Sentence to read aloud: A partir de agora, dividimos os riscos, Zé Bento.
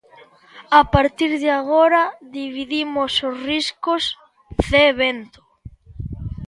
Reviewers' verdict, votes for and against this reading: accepted, 2, 1